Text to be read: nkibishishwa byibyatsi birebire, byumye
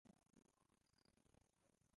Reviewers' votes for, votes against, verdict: 0, 2, rejected